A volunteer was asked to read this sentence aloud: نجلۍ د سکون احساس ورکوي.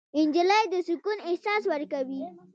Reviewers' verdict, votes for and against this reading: accepted, 2, 0